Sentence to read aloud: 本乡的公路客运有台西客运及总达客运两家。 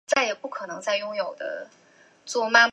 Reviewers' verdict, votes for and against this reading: rejected, 2, 4